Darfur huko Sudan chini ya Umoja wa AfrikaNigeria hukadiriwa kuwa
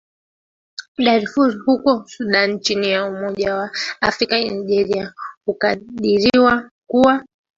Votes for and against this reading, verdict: 0, 2, rejected